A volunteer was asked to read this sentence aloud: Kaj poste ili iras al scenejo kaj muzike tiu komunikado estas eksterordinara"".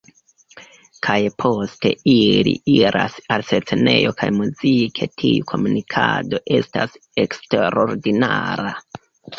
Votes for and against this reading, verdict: 2, 3, rejected